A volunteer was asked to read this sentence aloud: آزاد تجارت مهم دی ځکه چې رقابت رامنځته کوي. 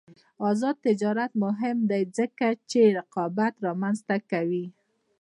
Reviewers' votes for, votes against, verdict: 2, 0, accepted